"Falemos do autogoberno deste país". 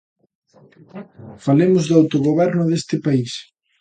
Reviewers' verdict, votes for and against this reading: rejected, 0, 2